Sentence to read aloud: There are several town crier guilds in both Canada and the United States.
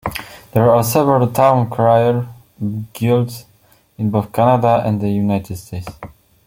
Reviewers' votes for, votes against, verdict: 2, 0, accepted